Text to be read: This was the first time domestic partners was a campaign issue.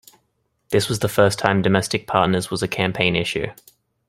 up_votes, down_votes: 2, 0